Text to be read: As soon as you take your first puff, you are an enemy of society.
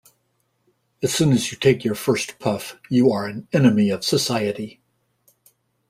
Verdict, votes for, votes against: accepted, 2, 0